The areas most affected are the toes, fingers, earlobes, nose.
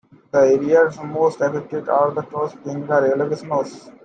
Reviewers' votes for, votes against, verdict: 2, 1, accepted